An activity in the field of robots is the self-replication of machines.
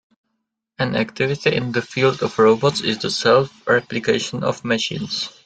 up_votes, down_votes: 2, 0